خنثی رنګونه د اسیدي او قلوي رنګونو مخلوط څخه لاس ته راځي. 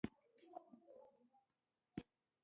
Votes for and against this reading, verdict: 0, 2, rejected